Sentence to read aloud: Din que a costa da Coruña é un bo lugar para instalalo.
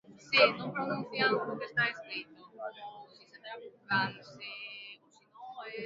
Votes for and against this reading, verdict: 0, 2, rejected